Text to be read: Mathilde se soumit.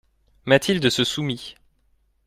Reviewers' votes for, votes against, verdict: 2, 0, accepted